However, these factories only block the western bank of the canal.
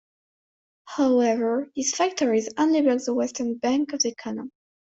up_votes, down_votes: 0, 2